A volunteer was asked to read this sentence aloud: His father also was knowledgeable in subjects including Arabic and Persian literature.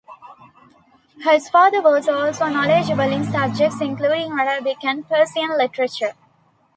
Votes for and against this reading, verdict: 2, 0, accepted